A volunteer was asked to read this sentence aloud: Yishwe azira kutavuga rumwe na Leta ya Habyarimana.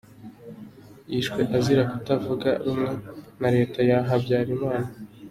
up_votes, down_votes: 2, 0